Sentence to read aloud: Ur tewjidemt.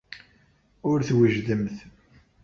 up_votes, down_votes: 1, 2